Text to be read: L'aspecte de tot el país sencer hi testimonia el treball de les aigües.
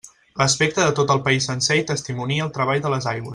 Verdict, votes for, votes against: rejected, 1, 2